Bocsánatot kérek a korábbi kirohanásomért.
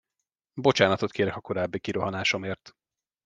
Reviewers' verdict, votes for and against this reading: accepted, 2, 0